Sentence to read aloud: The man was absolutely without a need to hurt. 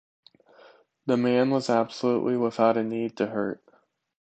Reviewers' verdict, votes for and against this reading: accepted, 2, 0